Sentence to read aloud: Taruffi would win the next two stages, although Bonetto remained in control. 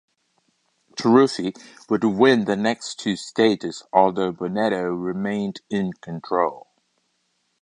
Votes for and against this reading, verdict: 2, 0, accepted